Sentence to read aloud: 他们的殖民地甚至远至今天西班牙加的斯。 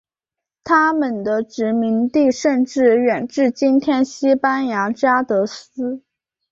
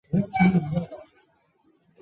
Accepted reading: first